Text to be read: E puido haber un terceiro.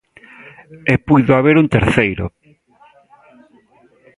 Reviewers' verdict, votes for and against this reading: accepted, 2, 1